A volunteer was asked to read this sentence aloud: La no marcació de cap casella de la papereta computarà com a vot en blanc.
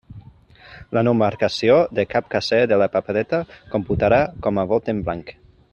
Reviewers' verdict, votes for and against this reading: rejected, 1, 2